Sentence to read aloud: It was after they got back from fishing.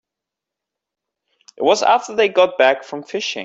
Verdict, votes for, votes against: accepted, 4, 1